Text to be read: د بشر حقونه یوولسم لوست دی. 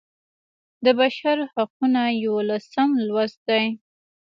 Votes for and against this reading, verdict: 2, 1, accepted